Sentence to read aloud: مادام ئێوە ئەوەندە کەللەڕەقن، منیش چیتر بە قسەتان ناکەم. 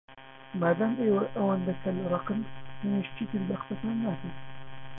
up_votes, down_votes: 1, 2